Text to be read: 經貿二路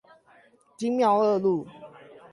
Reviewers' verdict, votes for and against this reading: rejected, 0, 8